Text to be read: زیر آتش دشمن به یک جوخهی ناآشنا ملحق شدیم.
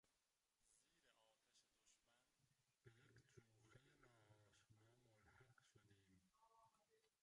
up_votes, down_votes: 0, 2